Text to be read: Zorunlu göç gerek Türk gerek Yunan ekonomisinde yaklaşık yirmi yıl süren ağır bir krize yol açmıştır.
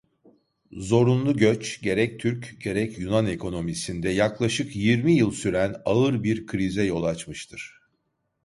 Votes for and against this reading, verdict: 2, 0, accepted